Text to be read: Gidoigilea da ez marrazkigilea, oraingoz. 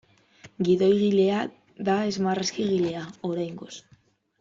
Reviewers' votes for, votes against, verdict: 1, 2, rejected